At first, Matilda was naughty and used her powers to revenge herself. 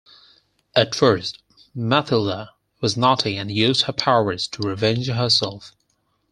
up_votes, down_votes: 4, 2